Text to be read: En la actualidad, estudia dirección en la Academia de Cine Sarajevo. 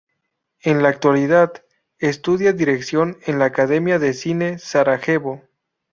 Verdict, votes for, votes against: accepted, 2, 0